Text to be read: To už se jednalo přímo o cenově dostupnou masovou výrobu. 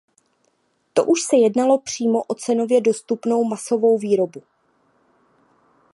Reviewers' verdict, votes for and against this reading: accepted, 2, 0